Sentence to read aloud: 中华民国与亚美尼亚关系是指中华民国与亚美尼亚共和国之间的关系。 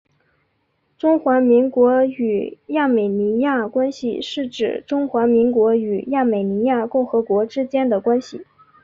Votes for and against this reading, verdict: 3, 0, accepted